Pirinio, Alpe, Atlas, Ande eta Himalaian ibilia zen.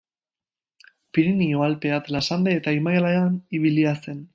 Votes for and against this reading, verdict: 0, 2, rejected